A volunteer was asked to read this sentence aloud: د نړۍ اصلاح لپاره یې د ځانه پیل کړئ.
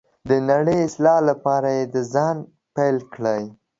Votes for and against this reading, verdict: 1, 2, rejected